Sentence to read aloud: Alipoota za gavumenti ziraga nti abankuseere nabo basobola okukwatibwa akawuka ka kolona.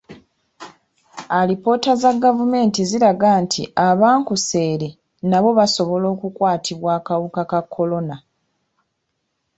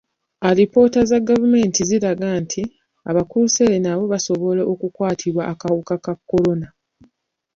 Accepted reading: first